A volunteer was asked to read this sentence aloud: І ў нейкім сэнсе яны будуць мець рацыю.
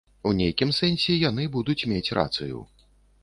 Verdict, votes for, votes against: rejected, 1, 2